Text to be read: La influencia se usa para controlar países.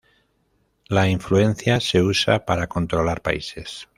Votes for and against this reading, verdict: 0, 2, rejected